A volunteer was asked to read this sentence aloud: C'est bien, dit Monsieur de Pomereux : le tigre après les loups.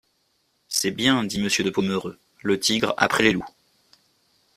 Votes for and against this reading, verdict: 2, 0, accepted